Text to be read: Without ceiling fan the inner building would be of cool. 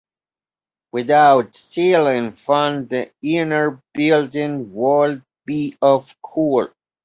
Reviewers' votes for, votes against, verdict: 1, 2, rejected